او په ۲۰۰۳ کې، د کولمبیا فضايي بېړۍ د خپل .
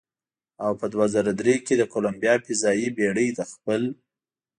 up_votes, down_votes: 0, 2